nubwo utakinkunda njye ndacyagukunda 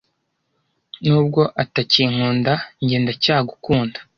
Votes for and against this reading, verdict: 1, 2, rejected